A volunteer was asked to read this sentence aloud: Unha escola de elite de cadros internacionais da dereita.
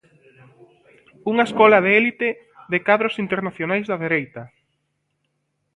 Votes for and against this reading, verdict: 0, 2, rejected